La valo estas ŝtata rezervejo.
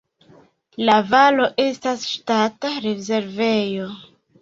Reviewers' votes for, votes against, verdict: 2, 0, accepted